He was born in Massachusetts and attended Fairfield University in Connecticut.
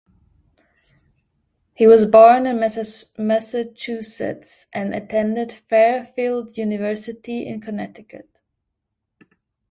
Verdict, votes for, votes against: rejected, 0, 2